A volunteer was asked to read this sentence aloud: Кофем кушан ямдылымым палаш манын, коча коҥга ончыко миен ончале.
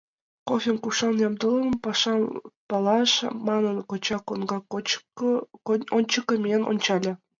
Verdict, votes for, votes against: rejected, 0, 3